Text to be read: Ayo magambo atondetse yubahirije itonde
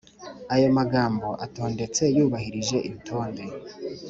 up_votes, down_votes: 3, 0